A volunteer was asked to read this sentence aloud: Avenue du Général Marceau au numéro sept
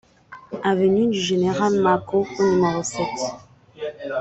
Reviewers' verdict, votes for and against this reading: rejected, 1, 2